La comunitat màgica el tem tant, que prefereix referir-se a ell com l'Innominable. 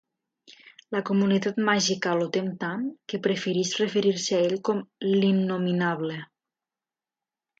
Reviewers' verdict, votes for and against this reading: rejected, 1, 2